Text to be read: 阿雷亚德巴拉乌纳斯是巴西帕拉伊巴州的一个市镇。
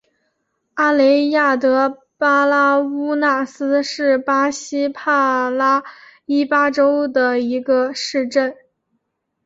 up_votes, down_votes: 4, 2